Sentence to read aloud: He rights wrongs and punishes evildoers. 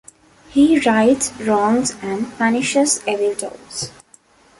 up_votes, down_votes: 1, 2